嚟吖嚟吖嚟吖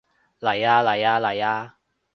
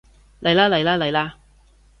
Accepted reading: first